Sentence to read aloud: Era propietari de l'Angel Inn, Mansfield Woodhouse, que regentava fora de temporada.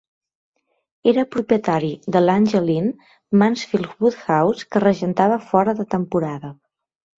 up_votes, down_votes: 4, 1